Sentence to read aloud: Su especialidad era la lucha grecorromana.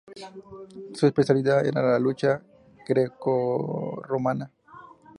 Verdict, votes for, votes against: accepted, 2, 0